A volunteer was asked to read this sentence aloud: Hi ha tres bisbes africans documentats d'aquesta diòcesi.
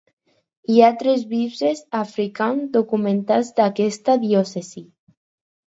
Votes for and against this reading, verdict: 0, 4, rejected